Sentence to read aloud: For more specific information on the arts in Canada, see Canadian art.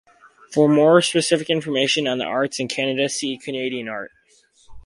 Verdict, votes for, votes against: accepted, 2, 0